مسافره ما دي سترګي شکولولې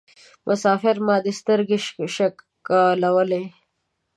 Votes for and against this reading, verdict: 1, 2, rejected